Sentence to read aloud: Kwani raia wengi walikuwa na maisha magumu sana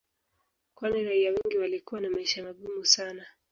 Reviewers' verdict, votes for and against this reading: accepted, 2, 1